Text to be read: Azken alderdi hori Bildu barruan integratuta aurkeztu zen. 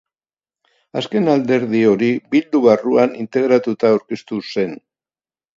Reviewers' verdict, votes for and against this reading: rejected, 2, 2